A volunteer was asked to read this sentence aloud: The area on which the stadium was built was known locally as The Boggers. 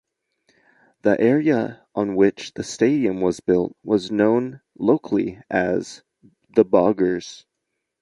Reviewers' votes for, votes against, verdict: 2, 0, accepted